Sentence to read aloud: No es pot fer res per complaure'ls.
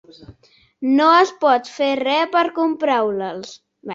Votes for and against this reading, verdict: 1, 2, rejected